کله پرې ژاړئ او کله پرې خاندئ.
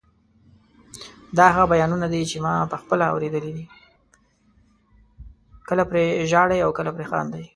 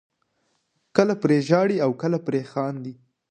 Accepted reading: second